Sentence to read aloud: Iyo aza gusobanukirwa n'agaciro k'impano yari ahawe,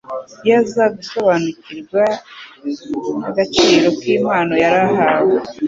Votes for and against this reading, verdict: 2, 0, accepted